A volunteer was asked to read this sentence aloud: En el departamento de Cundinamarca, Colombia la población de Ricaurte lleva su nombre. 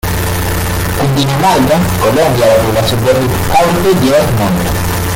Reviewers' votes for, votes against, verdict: 0, 2, rejected